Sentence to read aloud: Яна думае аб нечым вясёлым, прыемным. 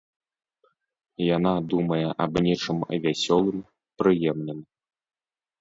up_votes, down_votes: 2, 0